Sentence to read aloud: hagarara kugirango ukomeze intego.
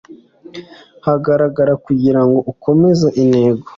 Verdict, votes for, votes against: accepted, 2, 0